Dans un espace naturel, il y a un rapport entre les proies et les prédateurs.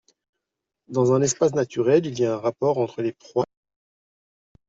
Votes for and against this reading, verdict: 0, 2, rejected